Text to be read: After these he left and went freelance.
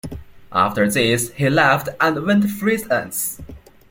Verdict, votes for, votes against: rejected, 0, 2